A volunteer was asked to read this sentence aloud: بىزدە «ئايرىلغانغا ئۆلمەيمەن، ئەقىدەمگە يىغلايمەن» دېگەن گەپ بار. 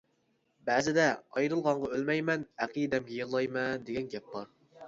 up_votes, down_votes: 0, 2